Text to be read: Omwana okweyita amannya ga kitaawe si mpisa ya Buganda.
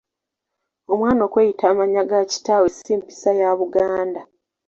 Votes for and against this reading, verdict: 2, 0, accepted